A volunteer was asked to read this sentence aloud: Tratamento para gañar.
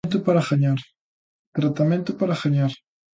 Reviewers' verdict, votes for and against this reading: rejected, 1, 2